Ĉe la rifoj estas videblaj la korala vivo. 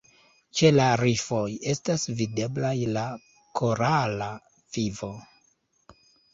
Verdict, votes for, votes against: accepted, 2, 1